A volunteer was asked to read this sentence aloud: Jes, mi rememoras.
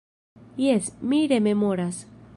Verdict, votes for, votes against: accepted, 2, 0